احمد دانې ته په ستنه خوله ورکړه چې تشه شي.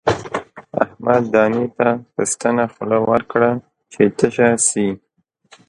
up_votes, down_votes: 1, 2